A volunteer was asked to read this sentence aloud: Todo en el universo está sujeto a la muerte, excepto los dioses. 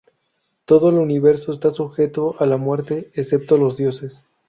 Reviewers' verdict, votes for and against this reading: rejected, 0, 2